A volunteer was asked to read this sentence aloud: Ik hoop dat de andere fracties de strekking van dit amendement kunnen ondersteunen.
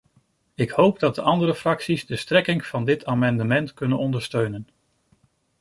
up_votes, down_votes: 2, 0